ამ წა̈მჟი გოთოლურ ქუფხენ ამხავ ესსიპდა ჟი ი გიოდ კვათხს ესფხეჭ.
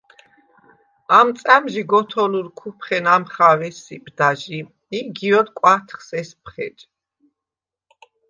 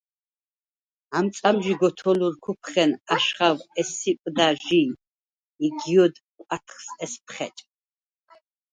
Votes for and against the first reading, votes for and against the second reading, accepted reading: 2, 0, 2, 4, first